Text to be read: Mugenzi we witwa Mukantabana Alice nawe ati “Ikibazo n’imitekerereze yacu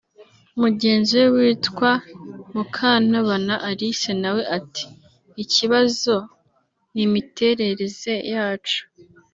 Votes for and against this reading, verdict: 1, 3, rejected